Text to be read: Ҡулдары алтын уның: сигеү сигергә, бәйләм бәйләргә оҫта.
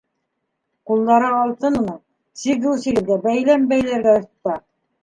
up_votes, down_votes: 1, 2